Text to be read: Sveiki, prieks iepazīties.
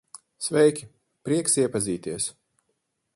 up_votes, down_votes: 10, 0